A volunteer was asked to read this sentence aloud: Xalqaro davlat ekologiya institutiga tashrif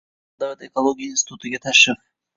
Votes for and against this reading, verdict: 2, 1, accepted